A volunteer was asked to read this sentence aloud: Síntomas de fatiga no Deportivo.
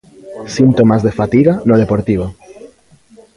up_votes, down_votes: 2, 0